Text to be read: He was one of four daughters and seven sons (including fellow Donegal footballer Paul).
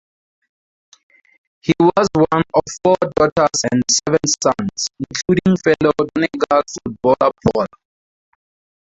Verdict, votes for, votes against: rejected, 0, 4